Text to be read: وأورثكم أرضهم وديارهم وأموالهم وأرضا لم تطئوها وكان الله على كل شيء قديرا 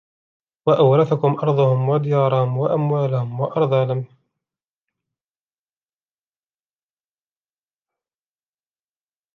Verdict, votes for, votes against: rejected, 0, 3